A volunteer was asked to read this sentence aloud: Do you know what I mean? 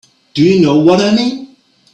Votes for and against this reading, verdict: 2, 0, accepted